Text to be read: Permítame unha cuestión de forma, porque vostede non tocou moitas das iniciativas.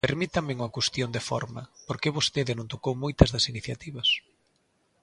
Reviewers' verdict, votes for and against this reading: accepted, 2, 0